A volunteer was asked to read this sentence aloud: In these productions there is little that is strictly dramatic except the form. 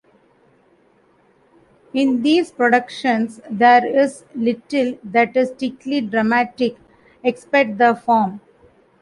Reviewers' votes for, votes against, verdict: 1, 2, rejected